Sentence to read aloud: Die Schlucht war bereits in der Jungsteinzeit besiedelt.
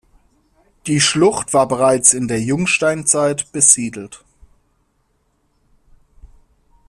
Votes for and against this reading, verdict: 2, 0, accepted